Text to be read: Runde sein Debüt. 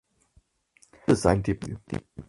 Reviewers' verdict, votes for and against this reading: rejected, 0, 4